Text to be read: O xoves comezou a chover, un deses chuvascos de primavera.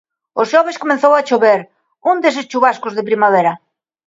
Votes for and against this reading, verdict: 2, 1, accepted